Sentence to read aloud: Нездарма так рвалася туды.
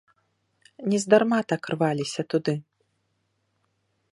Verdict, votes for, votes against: rejected, 1, 2